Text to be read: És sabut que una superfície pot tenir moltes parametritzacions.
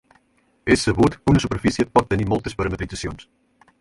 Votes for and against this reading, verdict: 2, 4, rejected